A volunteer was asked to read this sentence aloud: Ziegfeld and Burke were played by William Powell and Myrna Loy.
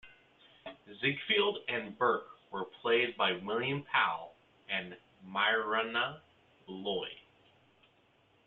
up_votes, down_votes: 1, 2